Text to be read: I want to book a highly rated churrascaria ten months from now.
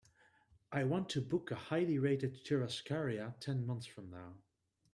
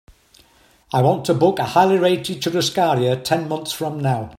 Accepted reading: second